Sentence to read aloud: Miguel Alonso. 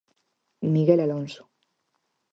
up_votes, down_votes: 6, 0